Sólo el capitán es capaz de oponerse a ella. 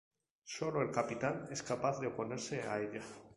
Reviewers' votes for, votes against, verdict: 2, 0, accepted